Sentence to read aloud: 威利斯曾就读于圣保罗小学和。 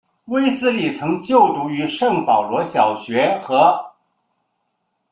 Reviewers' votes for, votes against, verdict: 2, 1, accepted